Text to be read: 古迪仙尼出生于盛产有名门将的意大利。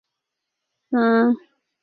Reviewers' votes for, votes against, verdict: 0, 4, rejected